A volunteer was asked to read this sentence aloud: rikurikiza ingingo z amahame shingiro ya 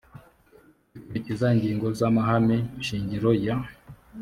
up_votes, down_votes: 2, 0